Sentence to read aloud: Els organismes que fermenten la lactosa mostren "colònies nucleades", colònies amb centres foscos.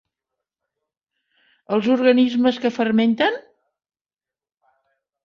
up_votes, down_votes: 0, 2